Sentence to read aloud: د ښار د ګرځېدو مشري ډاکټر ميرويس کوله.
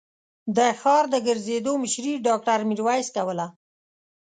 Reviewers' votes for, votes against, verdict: 2, 0, accepted